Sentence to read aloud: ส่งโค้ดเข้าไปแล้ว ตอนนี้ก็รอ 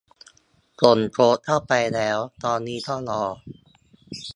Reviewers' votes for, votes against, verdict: 0, 3, rejected